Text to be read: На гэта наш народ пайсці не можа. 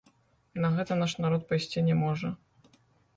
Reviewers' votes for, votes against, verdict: 0, 2, rejected